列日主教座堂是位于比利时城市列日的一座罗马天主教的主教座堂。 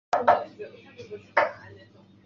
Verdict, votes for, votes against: rejected, 0, 6